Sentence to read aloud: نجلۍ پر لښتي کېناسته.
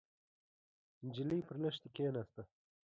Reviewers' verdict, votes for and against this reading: accepted, 2, 0